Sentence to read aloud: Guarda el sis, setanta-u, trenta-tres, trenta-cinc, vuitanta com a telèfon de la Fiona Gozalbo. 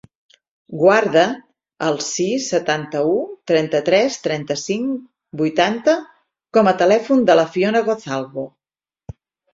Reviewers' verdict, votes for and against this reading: accepted, 8, 0